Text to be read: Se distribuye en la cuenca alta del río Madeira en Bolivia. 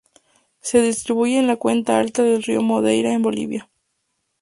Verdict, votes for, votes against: accepted, 2, 0